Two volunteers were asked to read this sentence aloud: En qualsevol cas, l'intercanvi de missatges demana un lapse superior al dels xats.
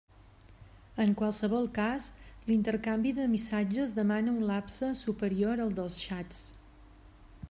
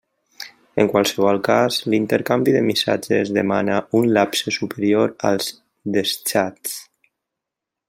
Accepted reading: first